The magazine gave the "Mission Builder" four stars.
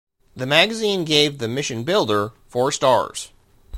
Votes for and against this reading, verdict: 0, 2, rejected